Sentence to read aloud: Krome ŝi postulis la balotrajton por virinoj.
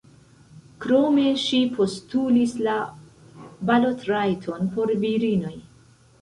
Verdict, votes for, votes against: rejected, 1, 2